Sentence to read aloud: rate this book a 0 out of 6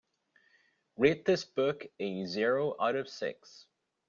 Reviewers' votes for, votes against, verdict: 0, 2, rejected